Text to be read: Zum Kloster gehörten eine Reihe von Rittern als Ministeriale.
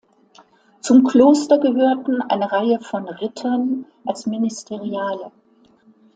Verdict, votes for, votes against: accepted, 2, 0